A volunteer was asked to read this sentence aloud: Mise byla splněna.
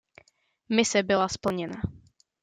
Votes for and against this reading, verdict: 2, 0, accepted